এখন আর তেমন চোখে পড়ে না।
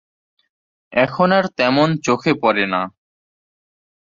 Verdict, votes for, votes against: accepted, 2, 0